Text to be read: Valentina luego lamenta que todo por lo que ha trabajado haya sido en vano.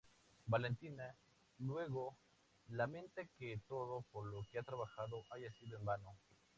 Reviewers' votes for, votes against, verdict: 2, 0, accepted